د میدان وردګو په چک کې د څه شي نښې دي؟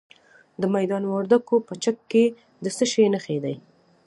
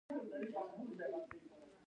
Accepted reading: first